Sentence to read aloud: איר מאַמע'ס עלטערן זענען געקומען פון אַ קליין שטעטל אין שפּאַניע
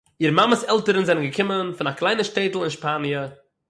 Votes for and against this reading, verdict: 0, 6, rejected